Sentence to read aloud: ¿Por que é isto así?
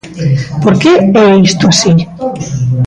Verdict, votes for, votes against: rejected, 1, 2